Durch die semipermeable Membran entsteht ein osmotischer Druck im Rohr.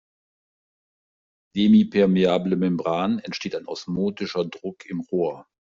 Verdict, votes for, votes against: rejected, 0, 2